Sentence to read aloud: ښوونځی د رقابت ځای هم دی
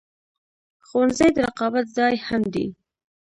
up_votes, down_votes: 1, 2